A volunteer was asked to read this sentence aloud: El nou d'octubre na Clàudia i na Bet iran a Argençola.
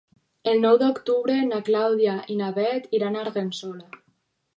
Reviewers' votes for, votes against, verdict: 2, 4, rejected